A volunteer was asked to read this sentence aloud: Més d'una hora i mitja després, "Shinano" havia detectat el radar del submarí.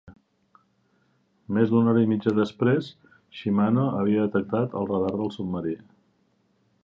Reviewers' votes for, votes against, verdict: 0, 2, rejected